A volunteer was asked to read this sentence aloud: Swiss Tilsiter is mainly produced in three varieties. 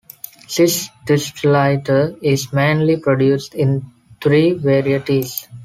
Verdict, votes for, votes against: rejected, 0, 2